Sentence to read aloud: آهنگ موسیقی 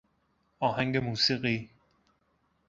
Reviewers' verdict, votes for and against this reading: accepted, 2, 0